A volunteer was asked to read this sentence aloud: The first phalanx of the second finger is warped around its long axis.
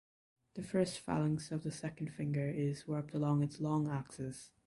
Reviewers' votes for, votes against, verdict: 2, 0, accepted